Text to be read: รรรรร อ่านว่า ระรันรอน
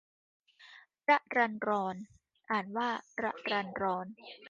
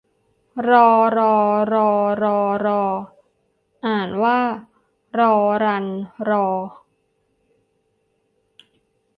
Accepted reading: first